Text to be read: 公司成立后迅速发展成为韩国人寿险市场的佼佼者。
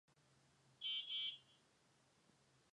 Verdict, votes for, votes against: rejected, 0, 2